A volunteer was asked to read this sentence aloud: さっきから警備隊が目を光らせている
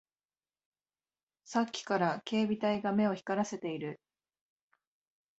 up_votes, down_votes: 3, 0